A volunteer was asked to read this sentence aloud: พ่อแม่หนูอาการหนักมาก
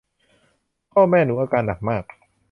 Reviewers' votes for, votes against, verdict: 2, 0, accepted